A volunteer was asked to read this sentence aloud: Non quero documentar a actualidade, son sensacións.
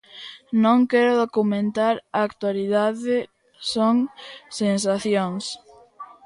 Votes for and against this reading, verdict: 1, 2, rejected